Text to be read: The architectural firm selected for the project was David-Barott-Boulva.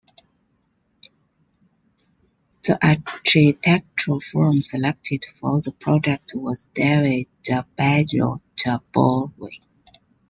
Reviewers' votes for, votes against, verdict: 2, 1, accepted